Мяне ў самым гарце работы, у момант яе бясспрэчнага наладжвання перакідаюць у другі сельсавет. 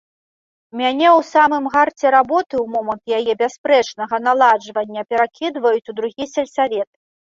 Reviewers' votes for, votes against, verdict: 0, 2, rejected